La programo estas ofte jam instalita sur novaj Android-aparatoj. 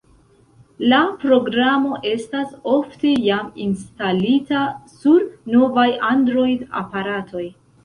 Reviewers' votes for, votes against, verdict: 2, 0, accepted